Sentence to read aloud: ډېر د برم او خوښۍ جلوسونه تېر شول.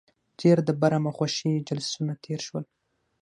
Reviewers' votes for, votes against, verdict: 3, 3, rejected